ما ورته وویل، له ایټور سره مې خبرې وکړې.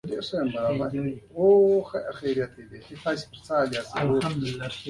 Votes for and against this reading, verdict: 1, 2, rejected